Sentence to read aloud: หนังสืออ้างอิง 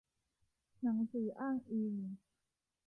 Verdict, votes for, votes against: accepted, 2, 0